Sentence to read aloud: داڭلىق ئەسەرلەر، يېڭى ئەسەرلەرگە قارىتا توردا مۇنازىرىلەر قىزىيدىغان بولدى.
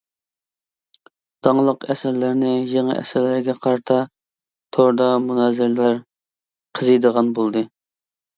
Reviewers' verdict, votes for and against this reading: rejected, 0, 2